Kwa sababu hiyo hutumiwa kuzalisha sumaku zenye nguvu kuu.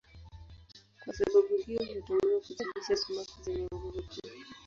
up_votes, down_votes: 4, 6